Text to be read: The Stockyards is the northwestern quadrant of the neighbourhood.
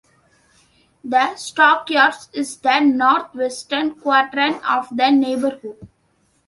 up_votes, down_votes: 2, 1